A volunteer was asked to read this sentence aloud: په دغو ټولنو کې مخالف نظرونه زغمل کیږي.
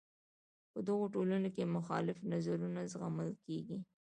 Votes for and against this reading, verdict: 2, 0, accepted